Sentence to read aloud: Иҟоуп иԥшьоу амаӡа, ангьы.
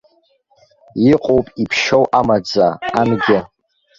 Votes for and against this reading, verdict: 1, 2, rejected